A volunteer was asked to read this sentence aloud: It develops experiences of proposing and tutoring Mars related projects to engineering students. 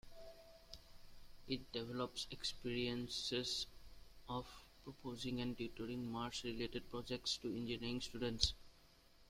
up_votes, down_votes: 2, 1